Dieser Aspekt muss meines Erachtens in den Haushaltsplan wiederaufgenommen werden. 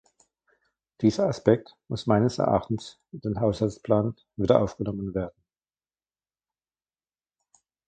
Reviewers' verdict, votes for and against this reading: rejected, 1, 2